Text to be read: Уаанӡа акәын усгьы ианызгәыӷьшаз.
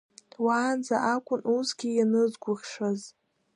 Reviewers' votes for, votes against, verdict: 1, 2, rejected